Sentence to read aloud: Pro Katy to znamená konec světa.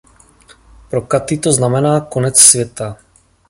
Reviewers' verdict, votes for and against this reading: accepted, 2, 0